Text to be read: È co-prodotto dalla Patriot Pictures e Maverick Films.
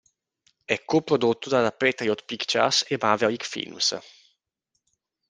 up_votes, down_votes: 1, 2